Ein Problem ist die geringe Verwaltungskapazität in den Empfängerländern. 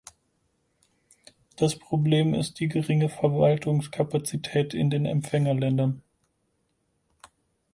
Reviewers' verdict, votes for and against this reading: rejected, 2, 4